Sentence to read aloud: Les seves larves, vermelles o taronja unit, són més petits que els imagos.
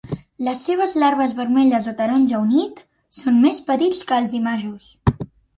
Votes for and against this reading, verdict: 3, 0, accepted